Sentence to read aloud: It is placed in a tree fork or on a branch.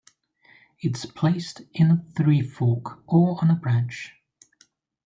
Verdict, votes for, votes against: rejected, 1, 2